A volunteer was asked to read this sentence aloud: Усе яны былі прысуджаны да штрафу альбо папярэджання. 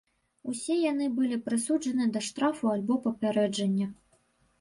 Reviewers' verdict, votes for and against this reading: rejected, 1, 2